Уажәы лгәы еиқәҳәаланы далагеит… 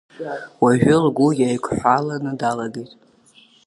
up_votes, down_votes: 1, 2